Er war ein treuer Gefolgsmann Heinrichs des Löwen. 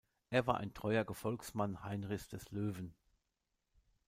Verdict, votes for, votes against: accepted, 2, 0